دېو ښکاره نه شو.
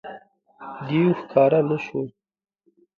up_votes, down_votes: 2, 1